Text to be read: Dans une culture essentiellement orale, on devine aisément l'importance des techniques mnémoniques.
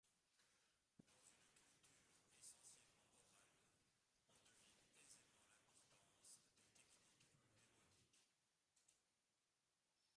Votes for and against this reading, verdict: 0, 2, rejected